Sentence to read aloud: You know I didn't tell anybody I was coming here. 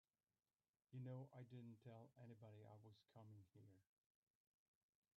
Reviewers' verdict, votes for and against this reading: rejected, 0, 2